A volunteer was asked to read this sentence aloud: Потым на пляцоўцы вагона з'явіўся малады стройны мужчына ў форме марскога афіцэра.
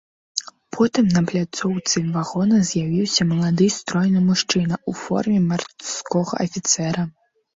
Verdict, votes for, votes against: rejected, 1, 2